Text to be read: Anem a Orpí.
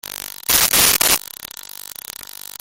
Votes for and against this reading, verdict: 0, 2, rejected